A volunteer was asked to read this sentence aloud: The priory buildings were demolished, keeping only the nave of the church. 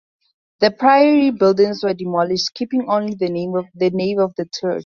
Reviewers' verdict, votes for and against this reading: rejected, 0, 4